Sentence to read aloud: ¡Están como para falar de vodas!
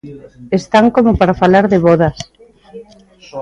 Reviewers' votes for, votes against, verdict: 2, 0, accepted